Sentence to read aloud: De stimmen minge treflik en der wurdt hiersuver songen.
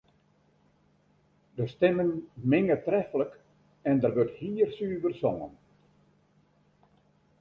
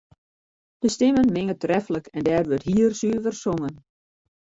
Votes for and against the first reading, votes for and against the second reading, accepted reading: 2, 0, 0, 2, first